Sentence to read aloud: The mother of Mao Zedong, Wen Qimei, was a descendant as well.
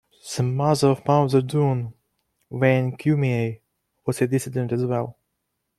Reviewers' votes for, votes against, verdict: 0, 2, rejected